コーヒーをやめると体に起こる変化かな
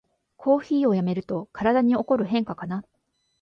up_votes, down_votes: 1, 2